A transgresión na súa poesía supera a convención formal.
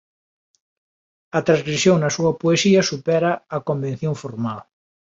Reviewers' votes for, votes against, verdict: 2, 0, accepted